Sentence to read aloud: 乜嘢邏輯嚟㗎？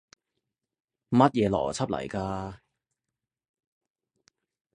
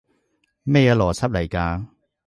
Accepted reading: first